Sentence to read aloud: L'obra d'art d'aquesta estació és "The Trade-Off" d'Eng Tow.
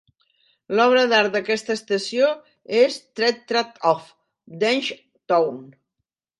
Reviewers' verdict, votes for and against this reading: rejected, 1, 2